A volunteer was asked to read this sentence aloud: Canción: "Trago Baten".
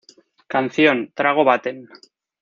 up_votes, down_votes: 0, 2